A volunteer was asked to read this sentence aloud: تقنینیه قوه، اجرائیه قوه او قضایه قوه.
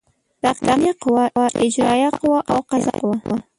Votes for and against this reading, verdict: 1, 2, rejected